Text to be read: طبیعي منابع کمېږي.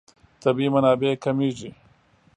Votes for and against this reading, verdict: 2, 0, accepted